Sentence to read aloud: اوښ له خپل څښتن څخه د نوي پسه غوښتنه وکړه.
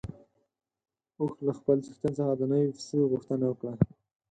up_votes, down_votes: 0, 4